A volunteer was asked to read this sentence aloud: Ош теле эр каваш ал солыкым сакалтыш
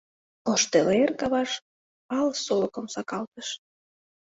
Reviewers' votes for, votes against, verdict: 2, 0, accepted